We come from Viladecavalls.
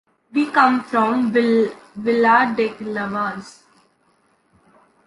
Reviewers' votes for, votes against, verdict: 2, 1, accepted